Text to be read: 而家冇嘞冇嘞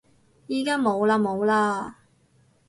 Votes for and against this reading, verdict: 2, 2, rejected